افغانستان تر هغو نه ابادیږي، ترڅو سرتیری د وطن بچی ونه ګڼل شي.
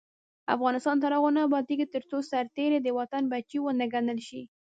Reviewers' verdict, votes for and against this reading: rejected, 0, 2